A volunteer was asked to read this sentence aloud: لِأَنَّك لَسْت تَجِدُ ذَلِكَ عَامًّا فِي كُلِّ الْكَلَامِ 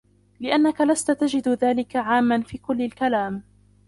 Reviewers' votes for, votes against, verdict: 0, 2, rejected